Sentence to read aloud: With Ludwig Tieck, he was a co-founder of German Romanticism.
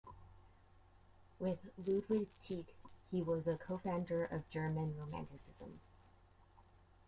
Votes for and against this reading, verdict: 0, 2, rejected